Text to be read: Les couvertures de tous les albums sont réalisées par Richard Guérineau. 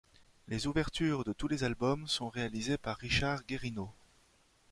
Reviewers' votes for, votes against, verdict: 0, 2, rejected